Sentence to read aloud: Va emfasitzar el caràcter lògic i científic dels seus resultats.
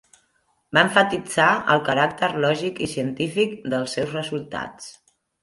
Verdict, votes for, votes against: accepted, 2, 1